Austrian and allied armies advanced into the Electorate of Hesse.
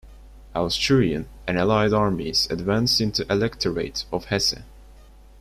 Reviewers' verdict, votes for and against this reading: rejected, 0, 2